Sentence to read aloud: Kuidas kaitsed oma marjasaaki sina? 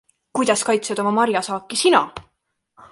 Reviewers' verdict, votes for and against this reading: accepted, 3, 0